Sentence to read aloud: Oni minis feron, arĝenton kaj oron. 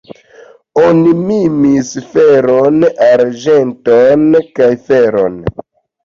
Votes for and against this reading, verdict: 0, 2, rejected